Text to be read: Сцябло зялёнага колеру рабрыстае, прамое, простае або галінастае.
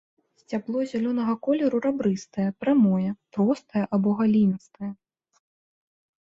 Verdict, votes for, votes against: rejected, 0, 2